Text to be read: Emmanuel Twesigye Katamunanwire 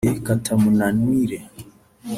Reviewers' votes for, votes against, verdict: 1, 3, rejected